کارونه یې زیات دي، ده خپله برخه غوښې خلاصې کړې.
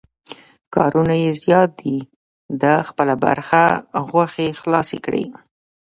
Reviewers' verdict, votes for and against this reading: rejected, 0, 2